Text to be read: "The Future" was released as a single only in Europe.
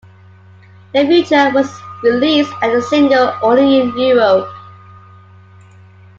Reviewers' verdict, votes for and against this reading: accepted, 2, 0